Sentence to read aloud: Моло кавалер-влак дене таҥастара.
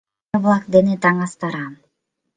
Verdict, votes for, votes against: accepted, 2, 0